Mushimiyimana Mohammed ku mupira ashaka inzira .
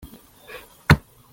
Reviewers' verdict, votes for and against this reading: rejected, 0, 2